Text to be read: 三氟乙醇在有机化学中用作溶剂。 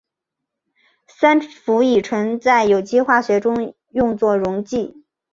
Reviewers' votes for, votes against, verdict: 2, 0, accepted